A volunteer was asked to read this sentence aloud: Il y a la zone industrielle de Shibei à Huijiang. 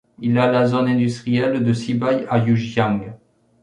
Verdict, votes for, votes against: rejected, 0, 2